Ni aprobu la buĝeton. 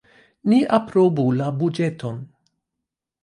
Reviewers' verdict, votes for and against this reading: rejected, 0, 2